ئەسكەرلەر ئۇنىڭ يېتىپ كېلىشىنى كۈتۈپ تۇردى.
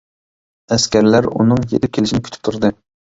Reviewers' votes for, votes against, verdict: 1, 2, rejected